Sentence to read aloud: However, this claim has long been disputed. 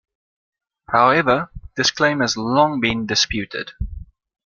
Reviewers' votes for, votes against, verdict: 2, 0, accepted